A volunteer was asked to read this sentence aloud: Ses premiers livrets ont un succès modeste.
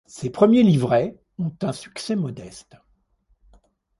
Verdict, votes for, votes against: accepted, 2, 0